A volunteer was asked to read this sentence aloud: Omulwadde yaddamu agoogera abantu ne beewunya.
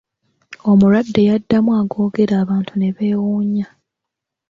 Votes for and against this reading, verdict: 2, 0, accepted